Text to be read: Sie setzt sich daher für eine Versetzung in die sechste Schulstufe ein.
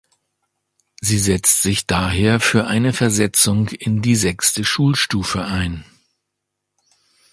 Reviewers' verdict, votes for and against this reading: accepted, 2, 0